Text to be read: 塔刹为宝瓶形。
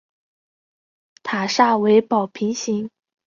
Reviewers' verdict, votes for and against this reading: accepted, 3, 2